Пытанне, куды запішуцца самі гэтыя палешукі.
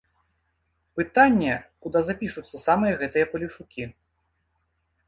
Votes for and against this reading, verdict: 1, 2, rejected